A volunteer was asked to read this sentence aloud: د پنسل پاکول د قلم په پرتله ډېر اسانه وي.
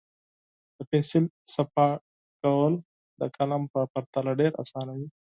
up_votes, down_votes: 0, 4